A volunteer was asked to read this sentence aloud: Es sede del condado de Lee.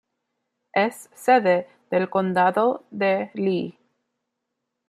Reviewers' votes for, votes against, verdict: 2, 0, accepted